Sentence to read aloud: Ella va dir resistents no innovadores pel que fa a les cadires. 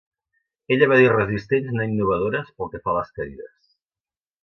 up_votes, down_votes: 0, 2